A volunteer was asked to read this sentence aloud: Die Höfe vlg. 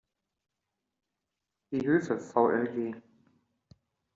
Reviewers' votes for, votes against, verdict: 2, 1, accepted